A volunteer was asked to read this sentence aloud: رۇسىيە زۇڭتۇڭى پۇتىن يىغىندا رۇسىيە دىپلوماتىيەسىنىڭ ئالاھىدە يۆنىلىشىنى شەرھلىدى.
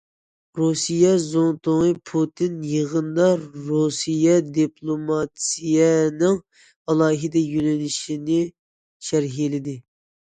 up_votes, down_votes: 1, 2